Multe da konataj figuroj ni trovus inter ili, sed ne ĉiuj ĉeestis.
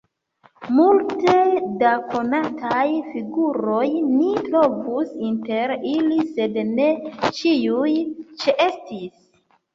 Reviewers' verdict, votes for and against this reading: rejected, 1, 2